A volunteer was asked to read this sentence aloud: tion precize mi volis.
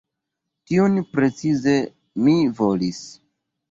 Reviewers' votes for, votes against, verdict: 4, 1, accepted